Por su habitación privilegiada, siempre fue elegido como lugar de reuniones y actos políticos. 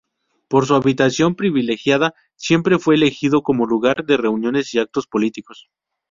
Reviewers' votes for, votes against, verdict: 2, 0, accepted